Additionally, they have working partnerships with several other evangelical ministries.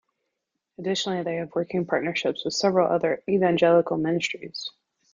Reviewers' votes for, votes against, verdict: 2, 1, accepted